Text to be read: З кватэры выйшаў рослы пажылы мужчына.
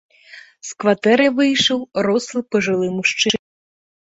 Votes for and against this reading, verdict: 1, 2, rejected